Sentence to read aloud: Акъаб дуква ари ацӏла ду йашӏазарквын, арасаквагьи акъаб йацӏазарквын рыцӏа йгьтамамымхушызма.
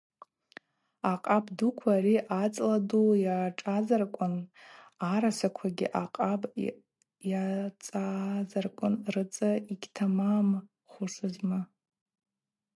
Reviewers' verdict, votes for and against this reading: rejected, 2, 2